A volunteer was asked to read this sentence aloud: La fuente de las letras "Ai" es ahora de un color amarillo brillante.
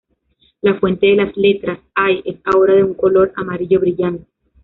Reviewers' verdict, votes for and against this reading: rejected, 1, 2